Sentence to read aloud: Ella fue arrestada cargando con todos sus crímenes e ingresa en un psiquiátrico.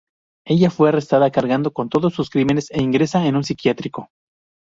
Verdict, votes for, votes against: rejected, 0, 2